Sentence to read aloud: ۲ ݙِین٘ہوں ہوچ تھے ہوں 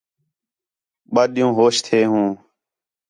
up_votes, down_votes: 0, 2